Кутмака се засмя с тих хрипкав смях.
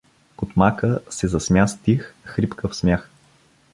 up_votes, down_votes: 2, 0